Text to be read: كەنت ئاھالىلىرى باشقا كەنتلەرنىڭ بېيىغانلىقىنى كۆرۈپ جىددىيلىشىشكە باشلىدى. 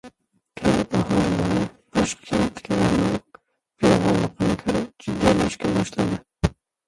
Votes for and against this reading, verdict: 0, 2, rejected